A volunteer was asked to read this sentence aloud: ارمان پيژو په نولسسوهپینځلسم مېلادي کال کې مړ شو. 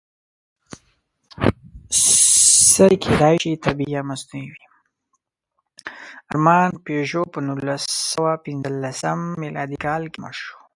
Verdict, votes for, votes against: rejected, 1, 2